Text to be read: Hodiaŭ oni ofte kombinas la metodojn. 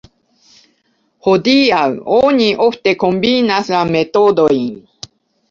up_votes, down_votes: 2, 0